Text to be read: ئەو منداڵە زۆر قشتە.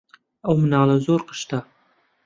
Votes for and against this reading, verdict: 0, 2, rejected